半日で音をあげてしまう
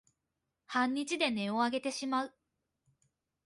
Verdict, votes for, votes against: accepted, 2, 0